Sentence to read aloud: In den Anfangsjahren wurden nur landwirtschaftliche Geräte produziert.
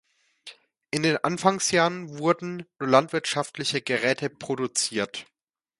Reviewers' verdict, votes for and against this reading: rejected, 1, 2